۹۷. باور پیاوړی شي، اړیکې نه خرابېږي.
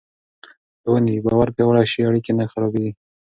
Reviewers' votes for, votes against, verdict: 0, 2, rejected